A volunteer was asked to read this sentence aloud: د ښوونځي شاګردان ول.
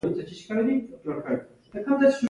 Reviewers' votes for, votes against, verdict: 2, 1, accepted